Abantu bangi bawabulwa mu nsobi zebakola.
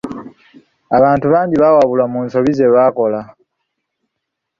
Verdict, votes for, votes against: rejected, 1, 2